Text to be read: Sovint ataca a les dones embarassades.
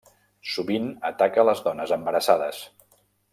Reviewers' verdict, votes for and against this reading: accepted, 2, 0